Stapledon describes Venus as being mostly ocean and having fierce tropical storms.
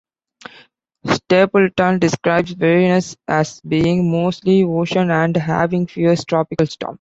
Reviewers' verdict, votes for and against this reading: rejected, 0, 2